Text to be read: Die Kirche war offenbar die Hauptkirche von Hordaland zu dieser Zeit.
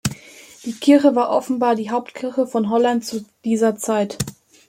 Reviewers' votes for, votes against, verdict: 0, 2, rejected